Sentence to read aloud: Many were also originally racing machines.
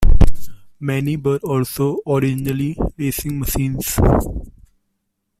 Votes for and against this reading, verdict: 0, 2, rejected